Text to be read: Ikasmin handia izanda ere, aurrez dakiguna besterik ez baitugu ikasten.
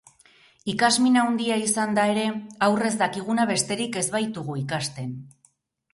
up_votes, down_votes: 2, 0